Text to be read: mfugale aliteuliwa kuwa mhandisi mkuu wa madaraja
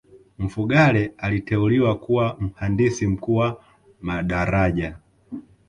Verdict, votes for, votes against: accepted, 2, 1